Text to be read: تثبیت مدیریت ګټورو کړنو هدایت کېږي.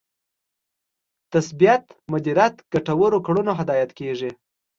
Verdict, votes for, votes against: accepted, 2, 0